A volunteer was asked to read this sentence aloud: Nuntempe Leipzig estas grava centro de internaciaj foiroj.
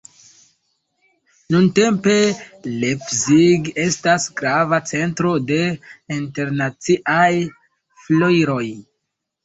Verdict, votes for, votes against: rejected, 0, 3